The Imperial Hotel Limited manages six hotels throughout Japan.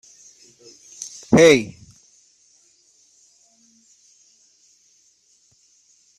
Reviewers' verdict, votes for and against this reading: rejected, 0, 2